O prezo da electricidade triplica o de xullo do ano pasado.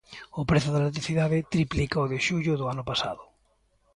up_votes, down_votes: 2, 0